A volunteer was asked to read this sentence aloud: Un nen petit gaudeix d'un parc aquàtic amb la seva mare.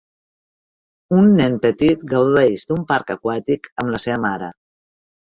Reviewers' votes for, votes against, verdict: 2, 0, accepted